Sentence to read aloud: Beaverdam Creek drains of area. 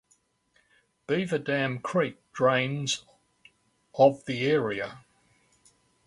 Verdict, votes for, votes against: rejected, 1, 2